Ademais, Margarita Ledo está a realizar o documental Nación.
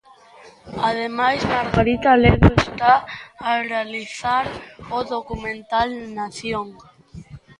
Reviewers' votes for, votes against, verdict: 0, 2, rejected